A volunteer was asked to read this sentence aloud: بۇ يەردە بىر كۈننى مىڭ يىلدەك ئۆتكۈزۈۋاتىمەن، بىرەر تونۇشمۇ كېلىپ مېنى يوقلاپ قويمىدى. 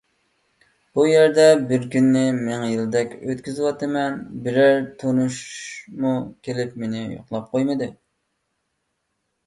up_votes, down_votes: 2, 1